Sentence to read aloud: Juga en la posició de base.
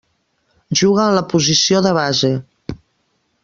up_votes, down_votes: 1, 2